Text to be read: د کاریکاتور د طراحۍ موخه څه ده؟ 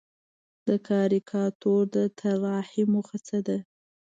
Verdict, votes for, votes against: accepted, 2, 0